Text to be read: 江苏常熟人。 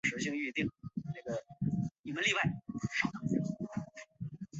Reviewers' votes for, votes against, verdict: 0, 2, rejected